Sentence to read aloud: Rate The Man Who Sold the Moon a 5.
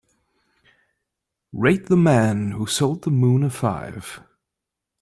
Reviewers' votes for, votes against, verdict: 0, 2, rejected